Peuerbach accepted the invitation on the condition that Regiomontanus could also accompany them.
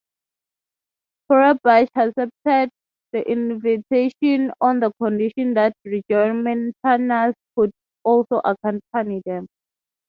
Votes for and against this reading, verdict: 0, 3, rejected